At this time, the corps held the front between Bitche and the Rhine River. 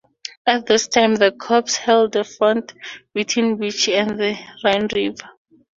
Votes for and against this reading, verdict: 0, 2, rejected